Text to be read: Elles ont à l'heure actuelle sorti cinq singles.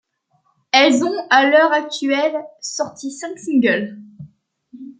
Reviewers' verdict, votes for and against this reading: accepted, 2, 0